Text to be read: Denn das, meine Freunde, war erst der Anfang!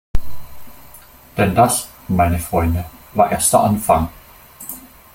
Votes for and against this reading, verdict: 2, 0, accepted